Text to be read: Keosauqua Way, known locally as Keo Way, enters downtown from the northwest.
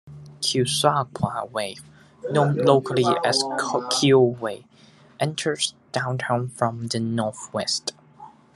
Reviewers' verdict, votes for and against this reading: accepted, 2, 1